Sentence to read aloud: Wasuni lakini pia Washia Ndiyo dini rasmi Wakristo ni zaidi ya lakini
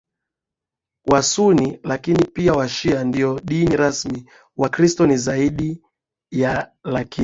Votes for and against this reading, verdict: 2, 0, accepted